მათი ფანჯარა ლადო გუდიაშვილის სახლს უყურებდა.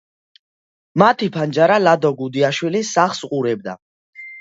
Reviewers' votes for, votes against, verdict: 2, 0, accepted